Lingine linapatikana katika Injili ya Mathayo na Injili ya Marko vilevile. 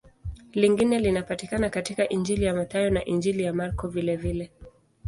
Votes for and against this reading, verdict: 2, 0, accepted